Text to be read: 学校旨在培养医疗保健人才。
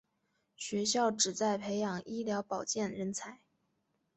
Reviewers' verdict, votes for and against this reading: accepted, 5, 0